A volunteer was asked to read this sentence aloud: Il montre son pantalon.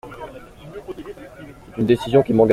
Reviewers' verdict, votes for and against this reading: rejected, 0, 2